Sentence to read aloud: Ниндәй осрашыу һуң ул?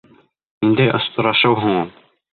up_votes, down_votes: 1, 2